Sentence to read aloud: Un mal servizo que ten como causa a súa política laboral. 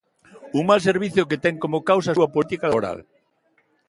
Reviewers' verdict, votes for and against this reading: rejected, 1, 2